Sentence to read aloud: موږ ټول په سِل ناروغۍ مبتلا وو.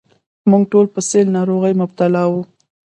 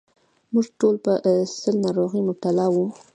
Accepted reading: second